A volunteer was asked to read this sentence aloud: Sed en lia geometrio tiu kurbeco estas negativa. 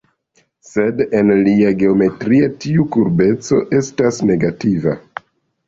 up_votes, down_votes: 1, 2